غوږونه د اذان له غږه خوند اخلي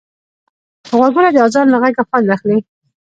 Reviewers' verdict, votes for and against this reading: rejected, 0, 2